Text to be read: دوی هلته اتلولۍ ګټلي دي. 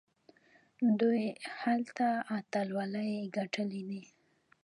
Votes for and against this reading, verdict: 2, 1, accepted